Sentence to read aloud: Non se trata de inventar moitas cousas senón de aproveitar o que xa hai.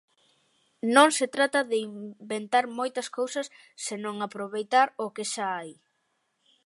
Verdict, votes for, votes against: rejected, 0, 2